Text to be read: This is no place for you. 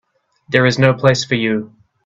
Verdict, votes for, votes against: rejected, 0, 2